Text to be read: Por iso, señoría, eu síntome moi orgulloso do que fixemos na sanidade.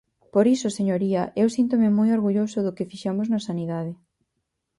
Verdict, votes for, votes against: accepted, 4, 0